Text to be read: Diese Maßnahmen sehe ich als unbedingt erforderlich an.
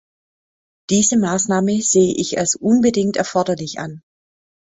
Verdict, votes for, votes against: rejected, 0, 2